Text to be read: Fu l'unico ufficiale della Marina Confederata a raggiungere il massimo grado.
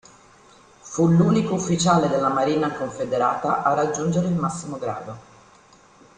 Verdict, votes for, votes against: accepted, 2, 0